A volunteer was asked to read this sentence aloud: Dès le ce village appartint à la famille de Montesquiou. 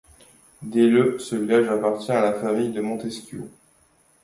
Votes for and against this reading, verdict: 1, 2, rejected